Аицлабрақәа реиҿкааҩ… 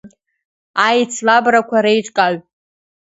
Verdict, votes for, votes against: accepted, 2, 0